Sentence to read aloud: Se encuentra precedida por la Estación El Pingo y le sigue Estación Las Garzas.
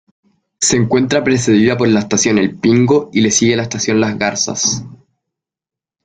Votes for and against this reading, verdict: 2, 0, accepted